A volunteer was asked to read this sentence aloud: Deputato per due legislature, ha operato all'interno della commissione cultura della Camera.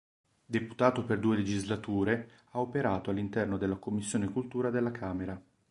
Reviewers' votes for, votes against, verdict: 2, 0, accepted